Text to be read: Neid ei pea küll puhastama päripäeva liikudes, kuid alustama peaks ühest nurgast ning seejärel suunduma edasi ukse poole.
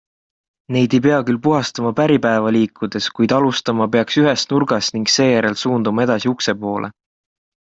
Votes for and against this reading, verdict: 2, 0, accepted